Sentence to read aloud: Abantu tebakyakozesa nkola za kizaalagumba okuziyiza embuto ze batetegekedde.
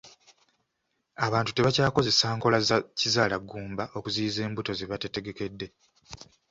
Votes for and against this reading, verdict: 1, 2, rejected